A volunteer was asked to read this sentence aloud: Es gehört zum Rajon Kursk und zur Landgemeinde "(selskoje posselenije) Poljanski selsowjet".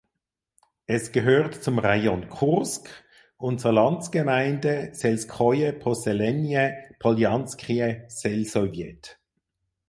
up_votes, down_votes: 0, 6